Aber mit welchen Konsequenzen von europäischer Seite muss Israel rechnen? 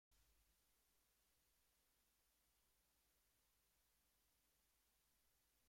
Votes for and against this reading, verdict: 0, 2, rejected